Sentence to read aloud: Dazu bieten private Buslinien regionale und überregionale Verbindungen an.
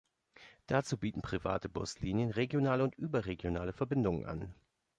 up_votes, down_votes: 1, 2